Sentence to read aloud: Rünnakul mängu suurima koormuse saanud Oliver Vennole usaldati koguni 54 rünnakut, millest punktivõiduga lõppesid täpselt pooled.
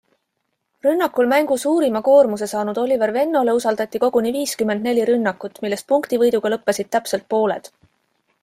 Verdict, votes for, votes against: rejected, 0, 2